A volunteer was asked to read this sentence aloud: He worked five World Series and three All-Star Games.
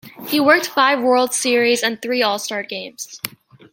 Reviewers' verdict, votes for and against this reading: accepted, 2, 1